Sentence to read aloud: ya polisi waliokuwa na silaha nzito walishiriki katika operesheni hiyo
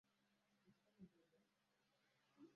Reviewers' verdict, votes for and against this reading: rejected, 0, 2